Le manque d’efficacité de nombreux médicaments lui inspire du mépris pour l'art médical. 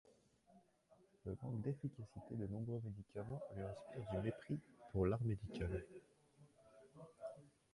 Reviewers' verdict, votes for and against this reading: rejected, 0, 2